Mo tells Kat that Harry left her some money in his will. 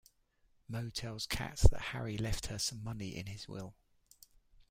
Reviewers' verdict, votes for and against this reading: rejected, 1, 2